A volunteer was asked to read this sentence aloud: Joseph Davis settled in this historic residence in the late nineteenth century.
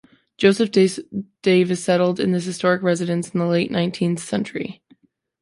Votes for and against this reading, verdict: 0, 3, rejected